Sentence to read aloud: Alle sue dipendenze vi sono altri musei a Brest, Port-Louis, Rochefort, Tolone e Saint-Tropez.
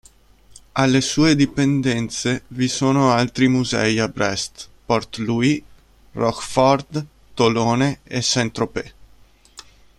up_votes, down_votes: 2, 0